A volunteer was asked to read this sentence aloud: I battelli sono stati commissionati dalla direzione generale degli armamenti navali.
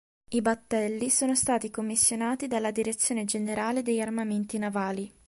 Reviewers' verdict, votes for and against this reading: accepted, 2, 0